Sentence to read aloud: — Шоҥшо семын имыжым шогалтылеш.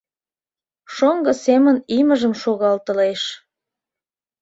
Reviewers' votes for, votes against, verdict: 0, 3, rejected